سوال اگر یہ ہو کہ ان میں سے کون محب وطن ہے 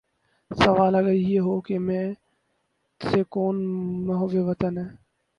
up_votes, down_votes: 2, 2